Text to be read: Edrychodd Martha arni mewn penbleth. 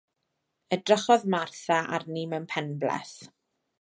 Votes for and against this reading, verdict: 2, 0, accepted